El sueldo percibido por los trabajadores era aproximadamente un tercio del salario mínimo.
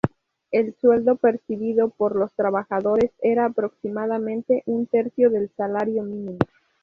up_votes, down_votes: 2, 0